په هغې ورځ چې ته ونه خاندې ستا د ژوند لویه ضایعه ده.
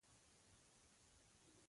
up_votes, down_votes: 2, 1